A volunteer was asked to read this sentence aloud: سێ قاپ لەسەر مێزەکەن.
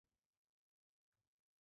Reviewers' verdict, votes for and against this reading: rejected, 1, 2